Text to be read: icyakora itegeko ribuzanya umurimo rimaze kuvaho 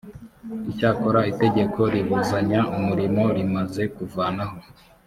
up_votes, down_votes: 2, 3